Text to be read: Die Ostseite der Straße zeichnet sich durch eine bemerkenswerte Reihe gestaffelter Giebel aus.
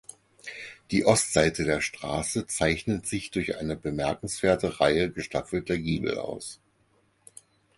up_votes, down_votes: 4, 0